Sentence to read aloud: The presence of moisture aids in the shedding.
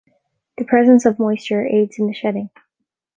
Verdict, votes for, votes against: accepted, 2, 0